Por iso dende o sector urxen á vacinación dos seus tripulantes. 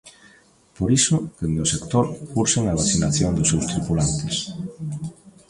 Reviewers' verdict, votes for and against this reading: rejected, 1, 2